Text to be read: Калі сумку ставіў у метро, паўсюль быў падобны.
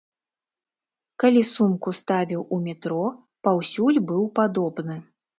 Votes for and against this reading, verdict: 2, 0, accepted